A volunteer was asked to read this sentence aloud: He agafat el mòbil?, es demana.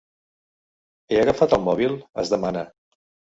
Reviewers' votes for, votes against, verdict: 3, 0, accepted